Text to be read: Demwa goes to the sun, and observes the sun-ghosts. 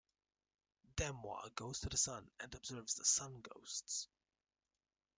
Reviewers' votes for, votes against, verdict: 2, 0, accepted